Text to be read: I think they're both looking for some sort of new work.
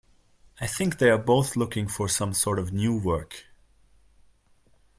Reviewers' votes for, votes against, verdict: 2, 0, accepted